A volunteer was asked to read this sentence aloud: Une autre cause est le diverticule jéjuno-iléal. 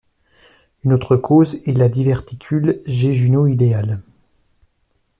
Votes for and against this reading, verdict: 0, 2, rejected